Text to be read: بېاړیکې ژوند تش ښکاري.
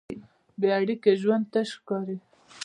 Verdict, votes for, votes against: rejected, 1, 2